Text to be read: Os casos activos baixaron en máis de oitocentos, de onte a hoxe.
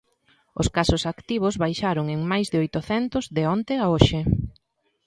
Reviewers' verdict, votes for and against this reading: accepted, 2, 0